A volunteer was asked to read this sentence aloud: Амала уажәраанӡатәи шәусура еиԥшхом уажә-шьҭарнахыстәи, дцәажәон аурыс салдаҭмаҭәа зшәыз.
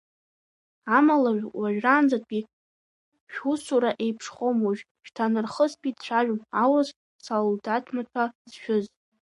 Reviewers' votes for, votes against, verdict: 2, 1, accepted